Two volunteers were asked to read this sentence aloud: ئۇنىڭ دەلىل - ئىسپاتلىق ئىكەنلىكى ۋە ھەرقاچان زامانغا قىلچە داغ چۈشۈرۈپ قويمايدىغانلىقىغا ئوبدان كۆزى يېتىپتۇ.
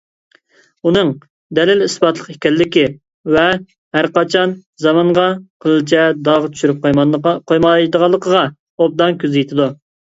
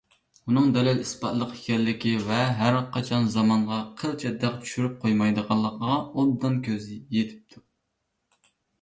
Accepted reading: second